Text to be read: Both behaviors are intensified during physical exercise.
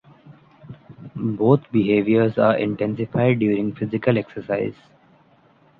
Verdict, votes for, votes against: rejected, 1, 2